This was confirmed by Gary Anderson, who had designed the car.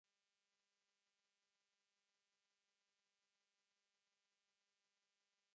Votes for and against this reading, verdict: 0, 2, rejected